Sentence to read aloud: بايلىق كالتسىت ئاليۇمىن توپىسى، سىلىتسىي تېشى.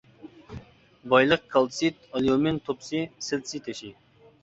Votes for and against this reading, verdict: 0, 2, rejected